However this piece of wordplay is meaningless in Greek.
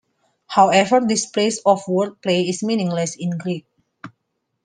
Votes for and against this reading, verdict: 0, 2, rejected